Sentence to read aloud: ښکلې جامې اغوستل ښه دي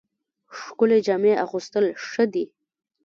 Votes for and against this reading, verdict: 1, 2, rejected